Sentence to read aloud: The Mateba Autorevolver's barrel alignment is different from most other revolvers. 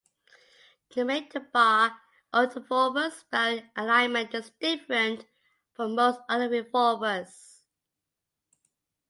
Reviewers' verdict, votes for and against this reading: rejected, 0, 2